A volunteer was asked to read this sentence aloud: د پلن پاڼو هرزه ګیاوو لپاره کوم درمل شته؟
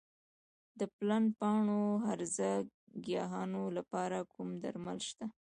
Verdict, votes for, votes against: accepted, 2, 1